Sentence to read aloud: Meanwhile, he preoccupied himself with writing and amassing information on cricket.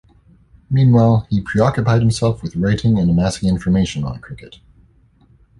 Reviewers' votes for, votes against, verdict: 1, 2, rejected